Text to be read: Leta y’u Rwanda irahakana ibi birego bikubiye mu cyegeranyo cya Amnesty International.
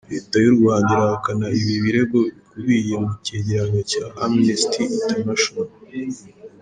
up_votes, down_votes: 2, 0